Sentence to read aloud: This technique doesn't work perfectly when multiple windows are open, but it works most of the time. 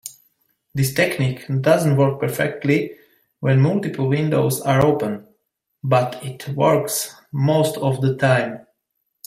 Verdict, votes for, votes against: accepted, 2, 0